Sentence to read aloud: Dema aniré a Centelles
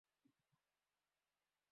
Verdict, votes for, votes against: rejected, 0, 2